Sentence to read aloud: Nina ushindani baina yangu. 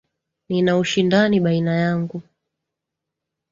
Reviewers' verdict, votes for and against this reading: accepted, 2, 0